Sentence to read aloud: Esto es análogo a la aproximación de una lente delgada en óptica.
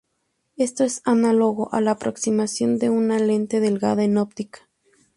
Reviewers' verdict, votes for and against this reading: accepted, 2, 0